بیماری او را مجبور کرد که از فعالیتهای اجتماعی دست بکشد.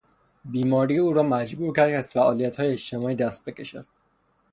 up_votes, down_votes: 0, 3